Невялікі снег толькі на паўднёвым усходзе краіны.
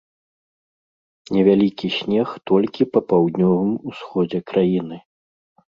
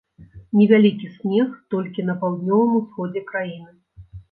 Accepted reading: second